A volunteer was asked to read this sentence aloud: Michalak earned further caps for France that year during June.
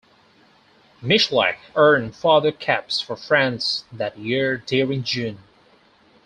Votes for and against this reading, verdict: 4, 0, accepted